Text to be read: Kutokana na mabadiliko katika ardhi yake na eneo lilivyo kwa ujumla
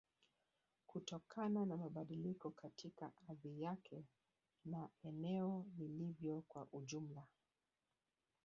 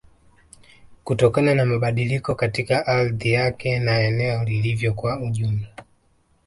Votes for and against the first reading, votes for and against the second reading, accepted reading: 0, 2, 2, 0, second